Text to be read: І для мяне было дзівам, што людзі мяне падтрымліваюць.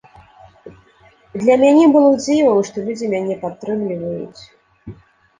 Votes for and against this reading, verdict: 1, 2, rejected